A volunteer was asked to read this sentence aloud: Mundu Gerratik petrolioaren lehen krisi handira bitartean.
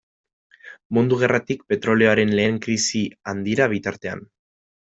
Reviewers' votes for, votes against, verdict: 2, 0, accepted